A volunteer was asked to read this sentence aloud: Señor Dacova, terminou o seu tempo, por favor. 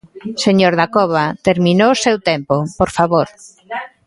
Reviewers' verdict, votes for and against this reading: rejected, 1, 2